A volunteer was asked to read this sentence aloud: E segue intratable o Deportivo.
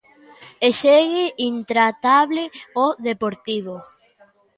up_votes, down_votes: 2, 0